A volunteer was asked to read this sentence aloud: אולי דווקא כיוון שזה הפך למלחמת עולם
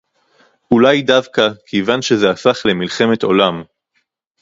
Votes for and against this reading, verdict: 0, 2, rejected